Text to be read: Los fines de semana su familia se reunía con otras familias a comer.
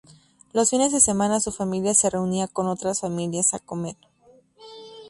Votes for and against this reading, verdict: 0, 2, rejected